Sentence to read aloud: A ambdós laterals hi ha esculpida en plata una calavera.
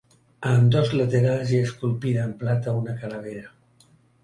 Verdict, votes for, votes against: accepted, 2, 0